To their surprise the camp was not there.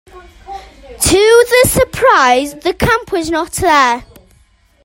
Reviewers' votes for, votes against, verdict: 1, 2, rejected